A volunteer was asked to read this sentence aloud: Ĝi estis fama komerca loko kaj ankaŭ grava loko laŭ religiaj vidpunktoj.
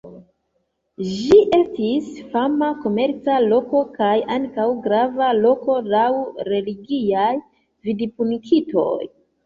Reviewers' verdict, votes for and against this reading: accepted, 2, 1